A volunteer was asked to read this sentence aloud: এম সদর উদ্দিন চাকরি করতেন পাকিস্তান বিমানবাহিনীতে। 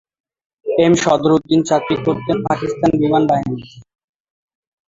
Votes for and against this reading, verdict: 0, 2, rejected